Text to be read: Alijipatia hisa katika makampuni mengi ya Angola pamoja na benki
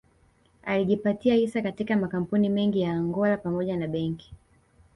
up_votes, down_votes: 1, 2